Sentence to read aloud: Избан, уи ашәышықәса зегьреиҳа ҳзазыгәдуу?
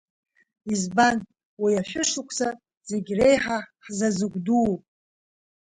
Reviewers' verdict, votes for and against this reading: accepted, 3, 1